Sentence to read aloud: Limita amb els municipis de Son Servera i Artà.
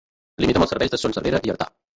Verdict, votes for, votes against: rejected, 1, 2